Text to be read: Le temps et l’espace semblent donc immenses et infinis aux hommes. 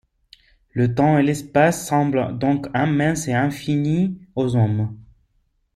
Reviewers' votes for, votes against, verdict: 1, 2, rejected